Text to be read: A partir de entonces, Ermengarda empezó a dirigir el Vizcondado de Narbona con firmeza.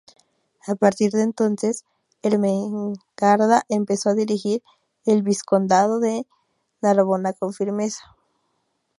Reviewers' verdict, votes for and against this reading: rejected, 0, 2